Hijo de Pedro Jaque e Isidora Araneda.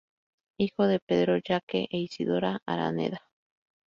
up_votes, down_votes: 2, 0